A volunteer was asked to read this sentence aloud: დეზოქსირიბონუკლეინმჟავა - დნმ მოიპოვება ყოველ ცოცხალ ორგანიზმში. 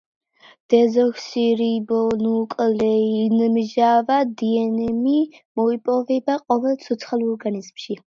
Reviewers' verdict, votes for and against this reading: accepted, 2, 1